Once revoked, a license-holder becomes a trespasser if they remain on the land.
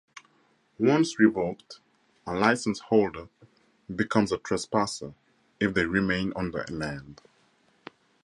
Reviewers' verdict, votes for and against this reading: rejected, 2, 2